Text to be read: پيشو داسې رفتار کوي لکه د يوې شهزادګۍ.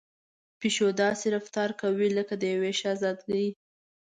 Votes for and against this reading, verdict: 2, 0, accepted